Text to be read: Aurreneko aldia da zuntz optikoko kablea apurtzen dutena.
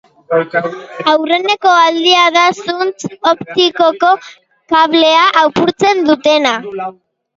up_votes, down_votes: 0, 2